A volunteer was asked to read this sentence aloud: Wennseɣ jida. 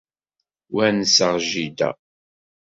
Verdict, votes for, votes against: rejected, 1, 2